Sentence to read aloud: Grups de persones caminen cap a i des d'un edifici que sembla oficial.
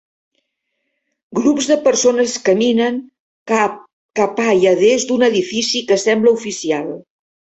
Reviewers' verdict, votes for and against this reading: rejected, 0, 2